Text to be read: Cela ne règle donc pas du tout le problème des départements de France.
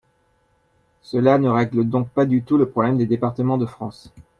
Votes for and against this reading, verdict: 2, 0, accepted